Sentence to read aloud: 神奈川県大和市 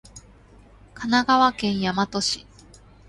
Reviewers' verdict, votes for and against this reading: accepted, 2, 0